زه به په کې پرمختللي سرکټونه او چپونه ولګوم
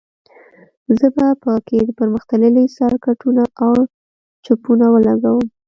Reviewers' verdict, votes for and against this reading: accepted, 2, 0